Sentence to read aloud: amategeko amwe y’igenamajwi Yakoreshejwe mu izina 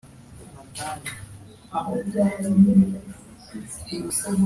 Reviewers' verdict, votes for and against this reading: rejected, 0, 2